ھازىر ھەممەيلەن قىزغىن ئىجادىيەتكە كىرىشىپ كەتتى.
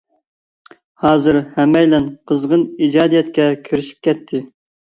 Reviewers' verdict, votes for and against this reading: accepted, 2, 0